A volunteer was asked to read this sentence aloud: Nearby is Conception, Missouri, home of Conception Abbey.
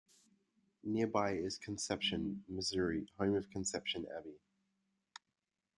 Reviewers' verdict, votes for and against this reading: rejected, 0, 2